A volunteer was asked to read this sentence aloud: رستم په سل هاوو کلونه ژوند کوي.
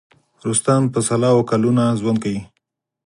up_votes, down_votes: 4, 0